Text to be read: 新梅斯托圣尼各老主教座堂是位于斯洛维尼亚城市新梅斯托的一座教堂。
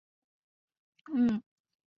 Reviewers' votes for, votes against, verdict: 2, 1, accepted